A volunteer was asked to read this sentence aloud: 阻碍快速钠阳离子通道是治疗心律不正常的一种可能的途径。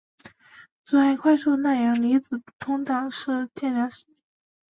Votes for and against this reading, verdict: 1, 3, rejected